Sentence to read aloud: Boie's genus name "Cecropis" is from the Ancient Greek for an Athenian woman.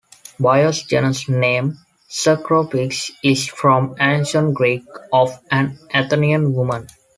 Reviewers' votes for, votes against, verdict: 1, 2, rejected